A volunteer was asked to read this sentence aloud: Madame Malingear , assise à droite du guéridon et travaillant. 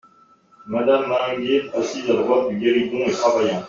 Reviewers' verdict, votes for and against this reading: rejected, 1, 2